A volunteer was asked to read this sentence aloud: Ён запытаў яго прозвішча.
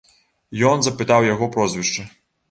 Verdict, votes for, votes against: accepted, 2, 0